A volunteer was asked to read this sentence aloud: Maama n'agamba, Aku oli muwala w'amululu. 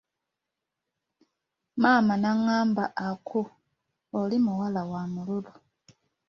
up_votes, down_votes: 1, 2